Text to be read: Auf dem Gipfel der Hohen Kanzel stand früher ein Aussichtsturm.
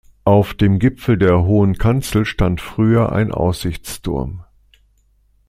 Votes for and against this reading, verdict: 2, 0, accepted